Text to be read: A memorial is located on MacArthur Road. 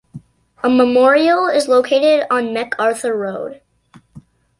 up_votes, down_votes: 2, 0